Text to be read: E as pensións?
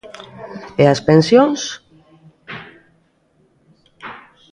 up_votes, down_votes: 2, 0